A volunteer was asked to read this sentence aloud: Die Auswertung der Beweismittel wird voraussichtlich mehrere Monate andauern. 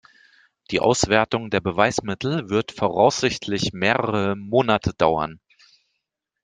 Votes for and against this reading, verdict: 1, 2, rejected